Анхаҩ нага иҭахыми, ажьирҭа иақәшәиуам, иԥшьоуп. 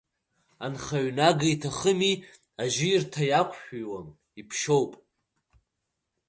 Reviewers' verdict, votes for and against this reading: accepted, 2, 0